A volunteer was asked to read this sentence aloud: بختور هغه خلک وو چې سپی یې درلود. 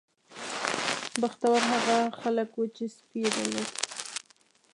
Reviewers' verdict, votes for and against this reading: accepted, 2, 0